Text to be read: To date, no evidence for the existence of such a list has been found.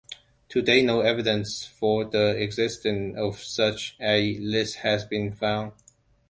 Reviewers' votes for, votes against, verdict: 2, 1, accepted